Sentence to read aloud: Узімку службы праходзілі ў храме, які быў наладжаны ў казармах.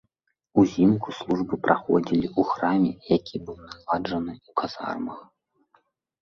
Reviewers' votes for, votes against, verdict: 0, 2, rejected